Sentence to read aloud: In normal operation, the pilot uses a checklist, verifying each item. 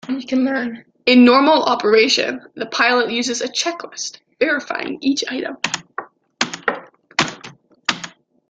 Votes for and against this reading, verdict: 1, 2, rejected